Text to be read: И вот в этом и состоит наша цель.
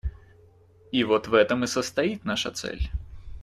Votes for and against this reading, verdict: 2, 0, accepted